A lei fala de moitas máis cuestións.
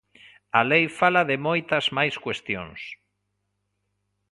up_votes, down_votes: 3, 0